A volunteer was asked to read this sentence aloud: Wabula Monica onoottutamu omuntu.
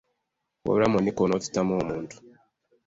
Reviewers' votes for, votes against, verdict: 1, 2, rejected